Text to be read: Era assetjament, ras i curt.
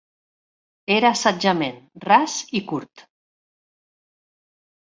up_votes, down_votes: 2, 0